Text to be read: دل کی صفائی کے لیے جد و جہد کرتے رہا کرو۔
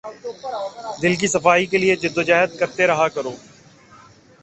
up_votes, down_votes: 1, 2